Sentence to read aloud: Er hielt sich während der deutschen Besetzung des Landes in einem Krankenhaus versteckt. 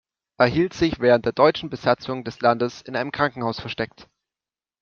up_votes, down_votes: 0, 2